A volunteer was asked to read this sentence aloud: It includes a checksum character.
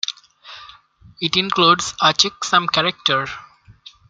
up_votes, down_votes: 2, 0